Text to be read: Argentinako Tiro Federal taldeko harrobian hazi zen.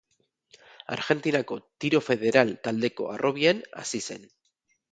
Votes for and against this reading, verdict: 2, 2, rejected